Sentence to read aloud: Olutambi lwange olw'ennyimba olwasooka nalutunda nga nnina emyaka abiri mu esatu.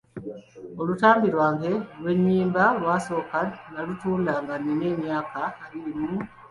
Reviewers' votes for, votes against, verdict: 0, 2, rejected